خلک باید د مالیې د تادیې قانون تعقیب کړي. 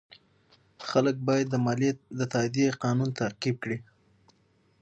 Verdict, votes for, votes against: accepted, 6, 0